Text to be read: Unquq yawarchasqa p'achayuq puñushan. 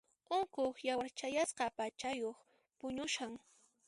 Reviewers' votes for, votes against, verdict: 1, 2, rejected